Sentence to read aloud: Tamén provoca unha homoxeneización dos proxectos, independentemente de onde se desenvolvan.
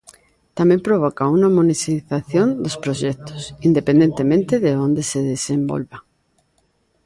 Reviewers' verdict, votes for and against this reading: rejected, 0, 2